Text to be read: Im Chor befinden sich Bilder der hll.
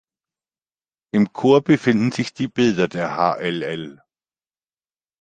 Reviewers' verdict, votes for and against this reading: accepted, 2, 1